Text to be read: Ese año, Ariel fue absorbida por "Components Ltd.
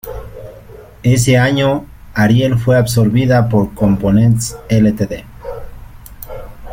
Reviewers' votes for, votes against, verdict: 2, 1, accepted